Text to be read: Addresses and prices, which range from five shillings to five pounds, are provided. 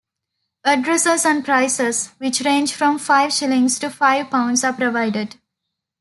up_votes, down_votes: 2, 0